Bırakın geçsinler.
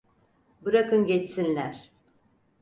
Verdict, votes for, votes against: accepted, 4, 0